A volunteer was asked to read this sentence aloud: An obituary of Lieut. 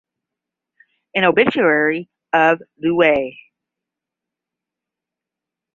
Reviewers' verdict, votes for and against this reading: accepted, 10, 5